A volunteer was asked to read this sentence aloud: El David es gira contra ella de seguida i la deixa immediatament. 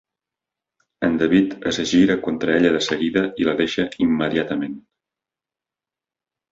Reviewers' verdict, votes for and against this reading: rejected, 1, 2